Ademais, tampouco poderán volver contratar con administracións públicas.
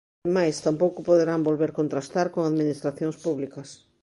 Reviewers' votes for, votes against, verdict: 0, 2, rejected